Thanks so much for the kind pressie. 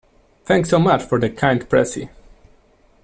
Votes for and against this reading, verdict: 2, 0, accepted